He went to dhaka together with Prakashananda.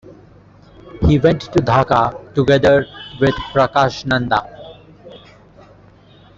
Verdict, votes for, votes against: accepted, 2, 0